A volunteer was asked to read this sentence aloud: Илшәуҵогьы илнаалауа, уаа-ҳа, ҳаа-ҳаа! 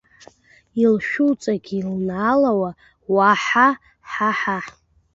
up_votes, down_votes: 1, 2